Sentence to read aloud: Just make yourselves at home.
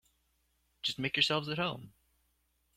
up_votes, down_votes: 2, 0